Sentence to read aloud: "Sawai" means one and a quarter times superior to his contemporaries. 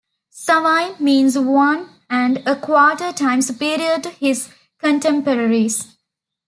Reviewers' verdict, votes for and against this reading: accepted, 2, 0